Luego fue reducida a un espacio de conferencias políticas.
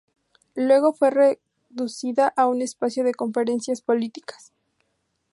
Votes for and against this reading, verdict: 0, 2, rejected